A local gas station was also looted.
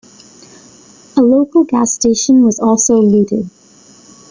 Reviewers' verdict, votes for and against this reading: accepted, 2, 0